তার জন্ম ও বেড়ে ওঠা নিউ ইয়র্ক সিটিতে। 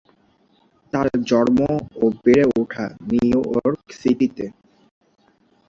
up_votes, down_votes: 1, 3